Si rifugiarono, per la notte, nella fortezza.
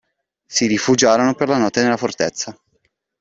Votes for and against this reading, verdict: 2, 0, accepted